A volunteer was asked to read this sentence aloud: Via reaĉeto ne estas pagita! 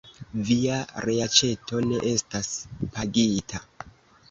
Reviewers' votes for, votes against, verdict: 1, 2, rejected